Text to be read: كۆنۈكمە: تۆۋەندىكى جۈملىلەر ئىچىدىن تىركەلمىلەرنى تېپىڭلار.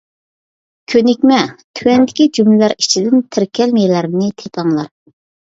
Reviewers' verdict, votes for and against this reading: accepted, 2, 0